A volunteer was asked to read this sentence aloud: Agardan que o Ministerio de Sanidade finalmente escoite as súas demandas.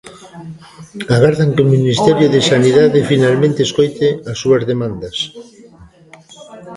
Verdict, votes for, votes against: rejected, 1, 2